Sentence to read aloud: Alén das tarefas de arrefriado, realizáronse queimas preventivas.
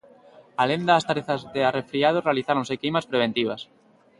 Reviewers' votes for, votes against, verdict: 2, 0, accepted